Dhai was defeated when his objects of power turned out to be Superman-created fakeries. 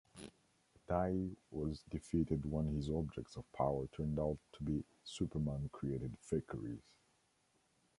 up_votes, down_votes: 3, 1